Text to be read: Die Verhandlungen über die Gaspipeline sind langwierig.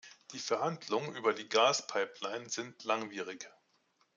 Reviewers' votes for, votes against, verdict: 2, 0, accepted